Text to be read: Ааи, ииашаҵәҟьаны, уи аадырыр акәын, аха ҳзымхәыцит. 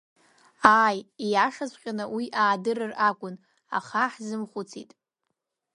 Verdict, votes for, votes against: accepted, 2, 0